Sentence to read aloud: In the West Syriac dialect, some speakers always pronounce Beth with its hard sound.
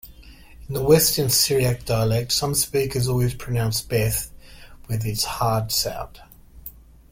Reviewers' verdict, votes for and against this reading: rejected, 0, 2